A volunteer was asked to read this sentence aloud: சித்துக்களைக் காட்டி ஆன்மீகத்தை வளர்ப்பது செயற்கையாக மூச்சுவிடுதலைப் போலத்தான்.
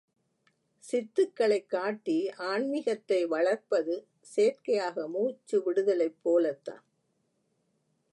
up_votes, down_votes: 2, 0